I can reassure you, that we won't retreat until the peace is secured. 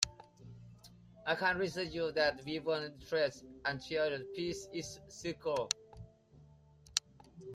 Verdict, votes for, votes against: rejected, 0, 2